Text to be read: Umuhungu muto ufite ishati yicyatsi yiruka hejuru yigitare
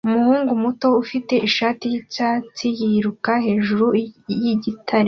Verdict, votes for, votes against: accepted, 2, 0